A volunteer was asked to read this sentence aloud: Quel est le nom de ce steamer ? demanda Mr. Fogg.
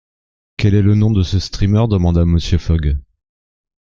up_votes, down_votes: 1, 2